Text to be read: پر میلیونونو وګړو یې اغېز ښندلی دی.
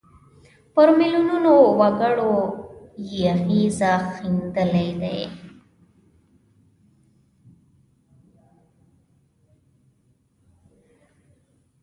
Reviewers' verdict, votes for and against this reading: rejected, 0, 2